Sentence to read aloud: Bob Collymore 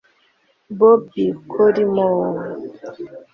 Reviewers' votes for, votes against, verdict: 1, 2, rejected